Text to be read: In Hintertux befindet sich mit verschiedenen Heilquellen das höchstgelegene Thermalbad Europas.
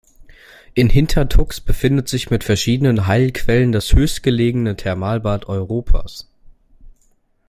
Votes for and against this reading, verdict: 2, 0, accepted